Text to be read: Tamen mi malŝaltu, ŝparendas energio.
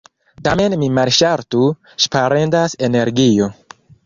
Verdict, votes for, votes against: rejected, 1, 2